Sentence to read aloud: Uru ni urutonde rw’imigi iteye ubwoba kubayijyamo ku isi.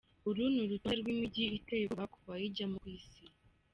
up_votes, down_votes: 2, 1